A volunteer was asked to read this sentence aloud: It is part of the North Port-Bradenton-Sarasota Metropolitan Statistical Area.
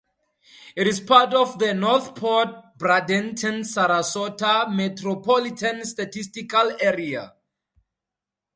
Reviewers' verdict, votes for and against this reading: accepted, 4, 2